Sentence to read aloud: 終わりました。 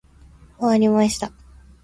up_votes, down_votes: 1, 2